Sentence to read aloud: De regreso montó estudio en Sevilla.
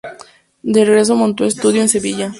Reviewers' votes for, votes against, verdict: 2, 0, accepted